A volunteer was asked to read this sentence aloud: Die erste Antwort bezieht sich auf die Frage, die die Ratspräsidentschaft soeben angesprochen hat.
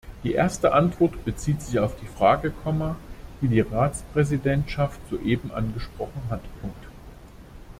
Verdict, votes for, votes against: rejected, 0, 2